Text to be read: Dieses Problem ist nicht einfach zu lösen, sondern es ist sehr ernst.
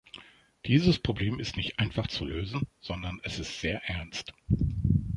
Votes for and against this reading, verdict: 3, 0, accepted